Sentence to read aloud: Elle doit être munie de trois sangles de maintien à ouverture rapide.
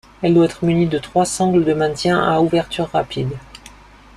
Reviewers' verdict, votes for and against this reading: accepted, 2, 0